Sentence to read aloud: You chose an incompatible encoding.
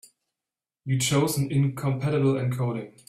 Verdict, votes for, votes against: accepted, 3, 0